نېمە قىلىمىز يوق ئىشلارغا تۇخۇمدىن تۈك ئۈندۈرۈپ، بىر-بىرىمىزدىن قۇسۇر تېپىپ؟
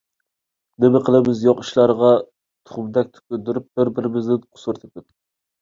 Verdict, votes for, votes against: rejected, 0, 2